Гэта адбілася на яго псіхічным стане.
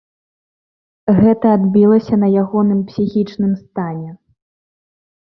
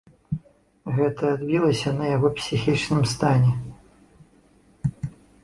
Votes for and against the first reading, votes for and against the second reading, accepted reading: 1, 2, 2, 0, second